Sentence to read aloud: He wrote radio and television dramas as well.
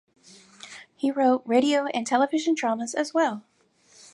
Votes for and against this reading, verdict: 4, 0, accepted